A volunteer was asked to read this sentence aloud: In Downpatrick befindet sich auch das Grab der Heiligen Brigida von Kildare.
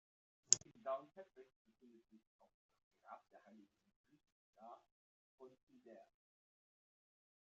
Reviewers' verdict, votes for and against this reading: rejected, 0, 2